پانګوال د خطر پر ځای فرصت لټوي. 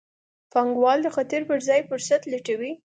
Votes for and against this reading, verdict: 2, 0, accepted